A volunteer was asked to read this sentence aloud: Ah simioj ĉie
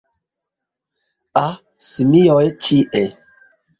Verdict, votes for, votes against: rejected, 0, 2